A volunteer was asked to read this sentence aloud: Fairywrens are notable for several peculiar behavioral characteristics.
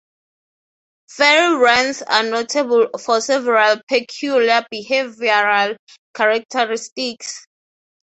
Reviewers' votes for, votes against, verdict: 3, 3, rejected